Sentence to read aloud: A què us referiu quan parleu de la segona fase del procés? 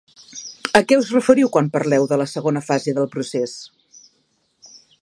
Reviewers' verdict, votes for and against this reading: accepted, 2, 0